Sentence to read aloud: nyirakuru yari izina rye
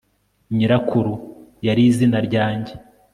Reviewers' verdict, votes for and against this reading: rejected, 0, 2